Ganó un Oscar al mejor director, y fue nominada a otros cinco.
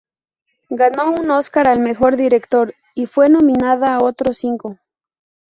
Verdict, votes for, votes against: accepted, 2, 0